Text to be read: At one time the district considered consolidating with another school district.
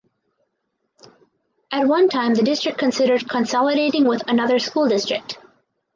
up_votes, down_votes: 4, 0